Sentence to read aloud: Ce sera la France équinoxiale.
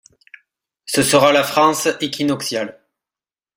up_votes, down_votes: 2, 0